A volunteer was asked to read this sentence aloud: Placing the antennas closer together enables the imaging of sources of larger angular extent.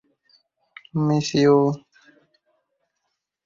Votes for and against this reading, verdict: 0, 4, rejected